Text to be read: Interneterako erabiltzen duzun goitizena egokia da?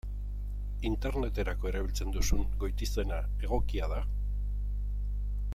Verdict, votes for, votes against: rejected, 0, 2